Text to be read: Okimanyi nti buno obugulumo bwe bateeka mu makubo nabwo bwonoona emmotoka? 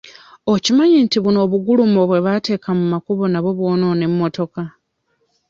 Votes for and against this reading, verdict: 2, 0, accepted